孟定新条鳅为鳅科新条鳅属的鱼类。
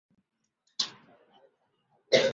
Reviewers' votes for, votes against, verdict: 0, 2, rejected